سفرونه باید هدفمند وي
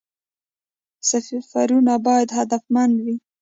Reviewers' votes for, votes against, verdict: 2, 0, accepted